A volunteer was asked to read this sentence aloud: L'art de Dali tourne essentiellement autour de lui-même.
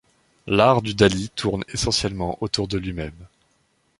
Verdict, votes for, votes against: rejected, 1, 2